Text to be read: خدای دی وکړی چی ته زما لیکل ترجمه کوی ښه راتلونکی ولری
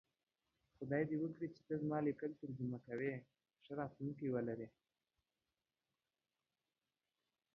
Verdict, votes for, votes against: rejected, 1, 3